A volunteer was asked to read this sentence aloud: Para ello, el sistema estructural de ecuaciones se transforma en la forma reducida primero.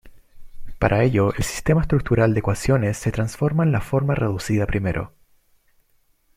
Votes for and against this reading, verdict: 2, 0, accepted